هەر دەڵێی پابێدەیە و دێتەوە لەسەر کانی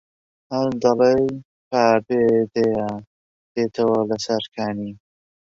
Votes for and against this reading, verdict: 1, 2, rejected